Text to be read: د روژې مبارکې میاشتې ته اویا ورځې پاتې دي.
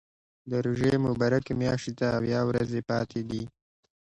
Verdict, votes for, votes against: accepted, 2, 0